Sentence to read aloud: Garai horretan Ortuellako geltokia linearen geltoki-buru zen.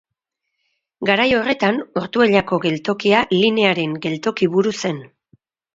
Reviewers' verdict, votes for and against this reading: accepted, 2, 0